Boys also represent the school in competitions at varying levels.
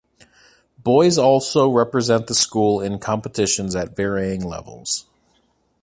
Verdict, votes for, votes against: accepted, 2, 0